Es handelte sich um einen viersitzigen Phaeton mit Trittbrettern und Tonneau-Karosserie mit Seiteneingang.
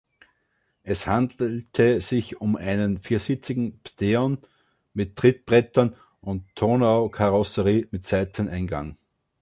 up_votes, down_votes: 1, 2